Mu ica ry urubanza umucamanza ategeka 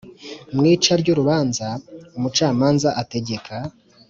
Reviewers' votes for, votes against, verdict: 2, 0, accepted